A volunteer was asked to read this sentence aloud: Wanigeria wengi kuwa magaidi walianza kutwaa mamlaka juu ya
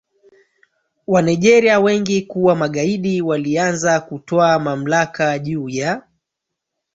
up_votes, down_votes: 0, 3